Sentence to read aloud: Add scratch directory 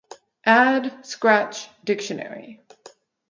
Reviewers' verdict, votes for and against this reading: rejected, 0, 2